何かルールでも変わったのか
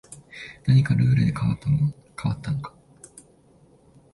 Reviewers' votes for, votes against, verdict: 0, 2, rejected